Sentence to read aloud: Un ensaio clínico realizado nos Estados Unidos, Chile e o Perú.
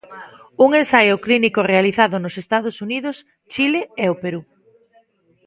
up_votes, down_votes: 2, 0